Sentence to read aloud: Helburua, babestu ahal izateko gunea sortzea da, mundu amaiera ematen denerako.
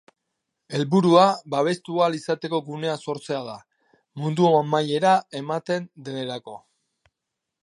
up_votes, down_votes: 2, 0